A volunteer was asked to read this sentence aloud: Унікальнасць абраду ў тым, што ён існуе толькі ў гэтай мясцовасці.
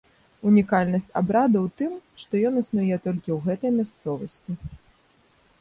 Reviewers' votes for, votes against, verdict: 2, 0, accepted